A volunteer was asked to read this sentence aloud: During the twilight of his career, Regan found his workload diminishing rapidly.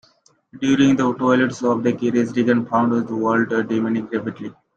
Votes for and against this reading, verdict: 0, 2, rejected